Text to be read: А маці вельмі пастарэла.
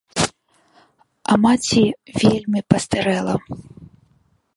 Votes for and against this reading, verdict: 0, 2, rejected